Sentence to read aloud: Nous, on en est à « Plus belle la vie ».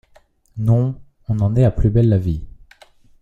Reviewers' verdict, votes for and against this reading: rejected, 1, 2